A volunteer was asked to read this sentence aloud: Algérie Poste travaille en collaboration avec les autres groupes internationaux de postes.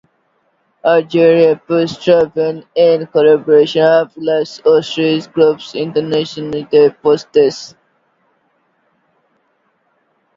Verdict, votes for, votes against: rejected, 1, 2